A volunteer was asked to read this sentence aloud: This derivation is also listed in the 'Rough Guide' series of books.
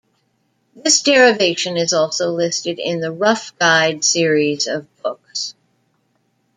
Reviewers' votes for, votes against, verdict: 2, 0, accepted